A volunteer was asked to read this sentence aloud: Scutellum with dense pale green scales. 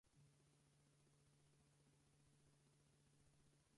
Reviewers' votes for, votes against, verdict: 0, 4, rejected